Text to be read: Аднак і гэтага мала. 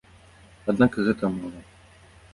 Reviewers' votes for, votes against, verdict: 1, 2, rejected